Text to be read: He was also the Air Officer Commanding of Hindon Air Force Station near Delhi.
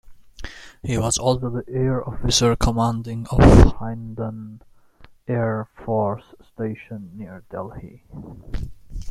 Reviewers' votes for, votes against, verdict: 0, 2, rejected